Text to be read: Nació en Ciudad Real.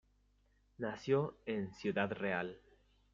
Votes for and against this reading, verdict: 3, 1, accepted